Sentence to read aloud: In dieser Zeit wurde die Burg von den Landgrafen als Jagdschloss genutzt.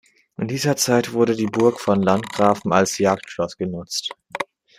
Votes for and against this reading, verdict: 2, 0, accepted